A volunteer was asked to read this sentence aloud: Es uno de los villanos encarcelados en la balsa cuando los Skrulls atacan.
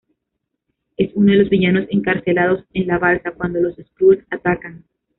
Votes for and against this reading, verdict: 0, 2, rejected